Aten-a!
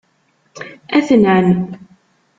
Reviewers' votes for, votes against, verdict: 1, 2, rejected